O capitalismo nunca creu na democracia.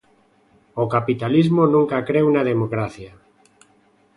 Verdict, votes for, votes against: accepted, 2, 0